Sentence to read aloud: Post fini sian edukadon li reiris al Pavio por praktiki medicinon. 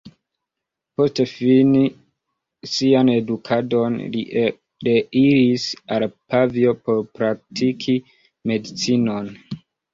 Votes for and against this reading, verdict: 0, 2, rejected